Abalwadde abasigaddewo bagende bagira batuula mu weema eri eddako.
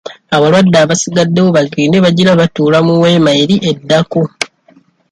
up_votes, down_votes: 2, 0